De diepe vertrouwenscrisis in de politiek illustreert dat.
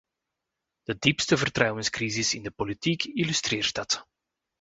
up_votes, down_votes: 0, 2